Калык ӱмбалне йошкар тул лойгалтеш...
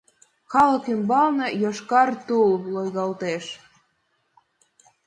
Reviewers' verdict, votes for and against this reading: accepted, 2, 0